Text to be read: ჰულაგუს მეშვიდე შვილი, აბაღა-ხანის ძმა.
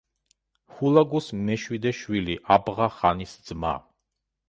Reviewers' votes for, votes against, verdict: 1, 2, rejected